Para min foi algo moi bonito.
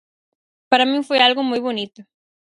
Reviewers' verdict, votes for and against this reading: accepted, 4, 0